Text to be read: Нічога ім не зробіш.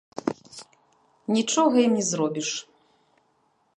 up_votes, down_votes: 0, 2